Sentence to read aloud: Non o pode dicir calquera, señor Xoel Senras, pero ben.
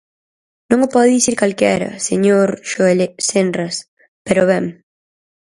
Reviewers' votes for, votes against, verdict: 0, 4, rejected